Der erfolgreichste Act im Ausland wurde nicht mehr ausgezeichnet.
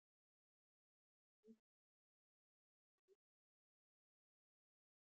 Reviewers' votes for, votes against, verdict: 0, 2, rejected